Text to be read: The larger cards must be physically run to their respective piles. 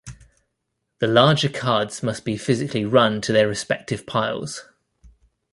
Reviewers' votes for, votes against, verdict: 2, 0, accepted